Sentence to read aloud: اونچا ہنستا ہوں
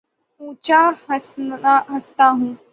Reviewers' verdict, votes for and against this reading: rejected, 3, 9